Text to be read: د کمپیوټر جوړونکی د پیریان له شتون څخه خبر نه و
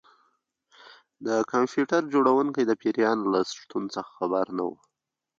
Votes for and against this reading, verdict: 2, 0, accepted